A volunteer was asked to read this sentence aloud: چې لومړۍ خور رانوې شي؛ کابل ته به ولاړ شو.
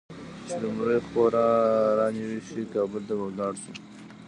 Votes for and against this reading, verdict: 0, 2, rejected